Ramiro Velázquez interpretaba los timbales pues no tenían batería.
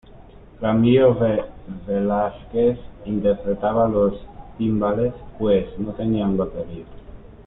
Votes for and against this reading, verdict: 1, 2, rejected